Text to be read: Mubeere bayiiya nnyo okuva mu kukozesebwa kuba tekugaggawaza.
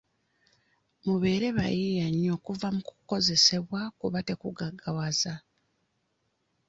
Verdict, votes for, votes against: accepted, 2, 0